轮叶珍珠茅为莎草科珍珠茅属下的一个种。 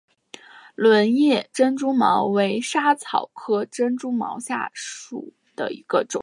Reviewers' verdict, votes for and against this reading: accepted, 2, 0